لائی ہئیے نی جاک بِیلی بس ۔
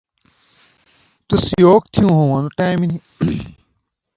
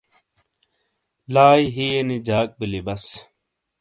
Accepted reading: second